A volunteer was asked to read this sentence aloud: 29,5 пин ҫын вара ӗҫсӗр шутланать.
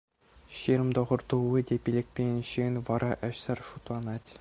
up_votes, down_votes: 0, 2